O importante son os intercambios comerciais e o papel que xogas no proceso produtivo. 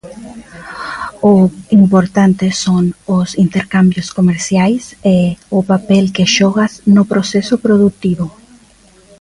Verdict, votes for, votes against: rejected, 0, 2